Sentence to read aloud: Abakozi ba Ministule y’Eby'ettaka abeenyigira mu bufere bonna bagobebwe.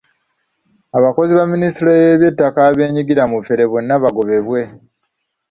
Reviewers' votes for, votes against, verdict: 2, 0, accepted